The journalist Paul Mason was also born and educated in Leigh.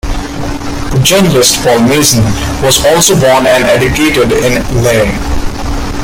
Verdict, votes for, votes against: rejected, 0, 2